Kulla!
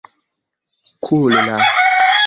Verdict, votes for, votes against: accepted, 2, 0